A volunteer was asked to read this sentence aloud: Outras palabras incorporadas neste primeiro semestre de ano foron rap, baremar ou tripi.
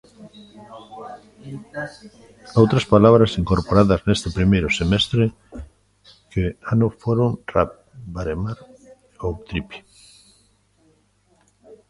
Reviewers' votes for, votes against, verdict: 0, 2, rejected